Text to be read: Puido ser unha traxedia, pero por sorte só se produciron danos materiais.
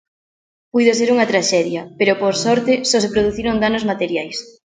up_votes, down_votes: 3, 0